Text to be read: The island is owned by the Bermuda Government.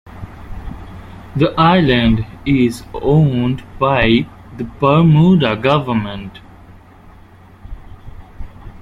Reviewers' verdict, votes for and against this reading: rejected, 0, 2